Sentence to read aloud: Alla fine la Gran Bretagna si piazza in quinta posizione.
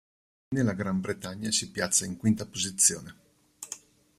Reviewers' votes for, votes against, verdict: 1, 2, rejected